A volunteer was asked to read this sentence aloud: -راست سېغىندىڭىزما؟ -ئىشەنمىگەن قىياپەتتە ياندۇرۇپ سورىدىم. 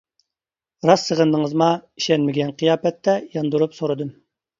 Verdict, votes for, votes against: accepted, 2, 0